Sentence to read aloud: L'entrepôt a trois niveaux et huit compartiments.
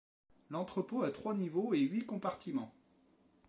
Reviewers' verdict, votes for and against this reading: rejected, 1, 2